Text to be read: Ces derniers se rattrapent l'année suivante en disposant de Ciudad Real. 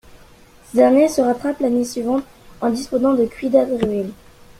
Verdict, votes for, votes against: rejected, 0, 2